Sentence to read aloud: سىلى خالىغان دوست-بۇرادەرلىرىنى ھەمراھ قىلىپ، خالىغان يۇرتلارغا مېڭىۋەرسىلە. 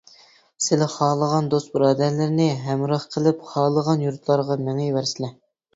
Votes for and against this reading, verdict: 2, 0, accepted